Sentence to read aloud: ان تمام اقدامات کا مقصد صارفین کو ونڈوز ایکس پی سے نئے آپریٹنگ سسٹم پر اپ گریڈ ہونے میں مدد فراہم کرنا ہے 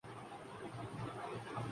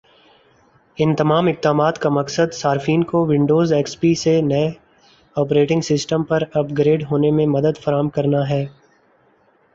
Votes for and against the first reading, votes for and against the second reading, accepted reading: 0, 2, 4, 0, second